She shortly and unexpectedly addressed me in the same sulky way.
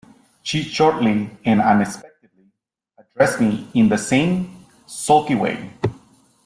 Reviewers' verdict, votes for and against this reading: rejected, 0, 2